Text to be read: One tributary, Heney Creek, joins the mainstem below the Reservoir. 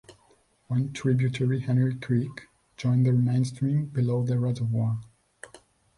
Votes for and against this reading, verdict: 1, 2, rejected